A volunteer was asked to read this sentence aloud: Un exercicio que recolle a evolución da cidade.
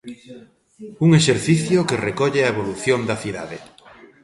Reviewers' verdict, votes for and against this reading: accepted, 2, 0